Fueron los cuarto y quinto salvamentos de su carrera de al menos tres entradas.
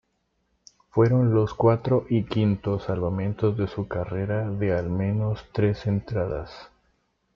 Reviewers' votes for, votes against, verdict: 2, 1, accepted